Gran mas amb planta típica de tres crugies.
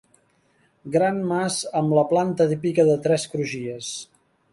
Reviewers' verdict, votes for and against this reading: rejected, 0, 3